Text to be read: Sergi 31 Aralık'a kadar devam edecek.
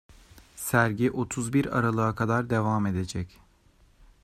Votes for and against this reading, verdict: 0, 2, rejected